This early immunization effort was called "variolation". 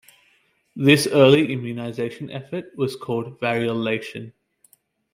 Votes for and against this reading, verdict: 1, 2, rejected